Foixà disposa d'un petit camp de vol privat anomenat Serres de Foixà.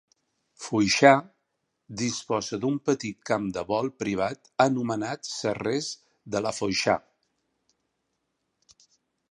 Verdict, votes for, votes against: rejected, 0, 3